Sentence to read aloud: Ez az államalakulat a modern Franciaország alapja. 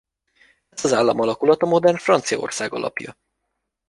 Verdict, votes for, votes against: accepted, 2, 1